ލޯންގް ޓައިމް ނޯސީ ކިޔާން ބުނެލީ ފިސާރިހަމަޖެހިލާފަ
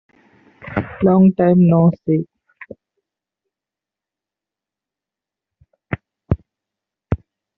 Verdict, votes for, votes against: rejected, 0, 2